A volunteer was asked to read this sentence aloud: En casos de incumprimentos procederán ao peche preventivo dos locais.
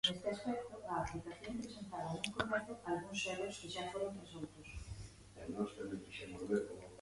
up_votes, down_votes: 0, 2